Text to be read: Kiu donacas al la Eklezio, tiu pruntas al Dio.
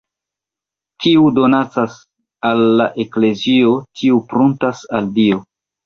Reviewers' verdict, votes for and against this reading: rejected, 0, 2